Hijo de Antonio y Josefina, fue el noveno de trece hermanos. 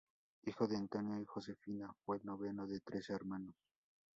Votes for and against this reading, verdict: 2, 2, rejected